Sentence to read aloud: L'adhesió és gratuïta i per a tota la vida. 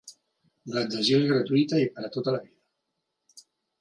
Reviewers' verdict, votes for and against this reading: rejected, 0, 2